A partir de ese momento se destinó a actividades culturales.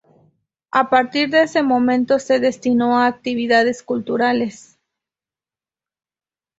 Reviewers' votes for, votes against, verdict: 2, 0, accepted